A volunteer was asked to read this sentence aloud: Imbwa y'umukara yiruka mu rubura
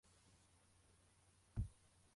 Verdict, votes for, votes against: rejected, 0, 2